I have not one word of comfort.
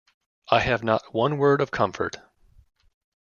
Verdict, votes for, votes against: accepted, 2, 0